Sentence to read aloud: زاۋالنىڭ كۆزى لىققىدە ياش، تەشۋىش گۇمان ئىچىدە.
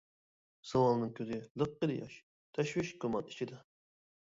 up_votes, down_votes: 0, 2